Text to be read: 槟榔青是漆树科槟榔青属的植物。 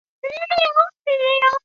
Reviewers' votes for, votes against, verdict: 2, 4, rejected